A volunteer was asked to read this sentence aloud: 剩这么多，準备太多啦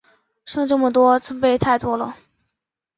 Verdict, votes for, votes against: accepted, 2, 1